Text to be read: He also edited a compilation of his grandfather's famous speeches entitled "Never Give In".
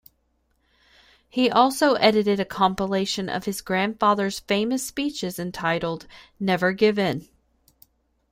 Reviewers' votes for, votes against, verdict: 2, 0, accepted